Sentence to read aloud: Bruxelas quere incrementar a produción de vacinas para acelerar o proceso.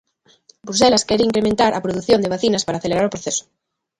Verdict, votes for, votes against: accepted, 2, 0